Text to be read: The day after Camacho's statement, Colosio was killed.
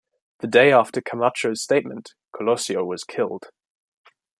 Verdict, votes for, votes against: accepted, 2, 0